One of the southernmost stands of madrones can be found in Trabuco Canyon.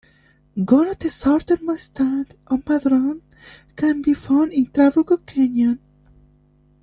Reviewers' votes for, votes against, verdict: 0, 2, rejected